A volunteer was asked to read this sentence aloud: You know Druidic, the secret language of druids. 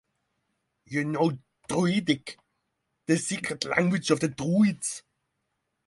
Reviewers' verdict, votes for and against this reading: rejected, 0, 3